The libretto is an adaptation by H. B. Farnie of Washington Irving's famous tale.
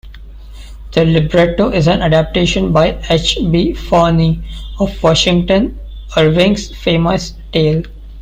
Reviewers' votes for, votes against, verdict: 2, 1, accepted